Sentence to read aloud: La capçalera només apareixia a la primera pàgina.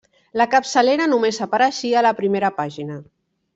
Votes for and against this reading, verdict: 3, 0, accepted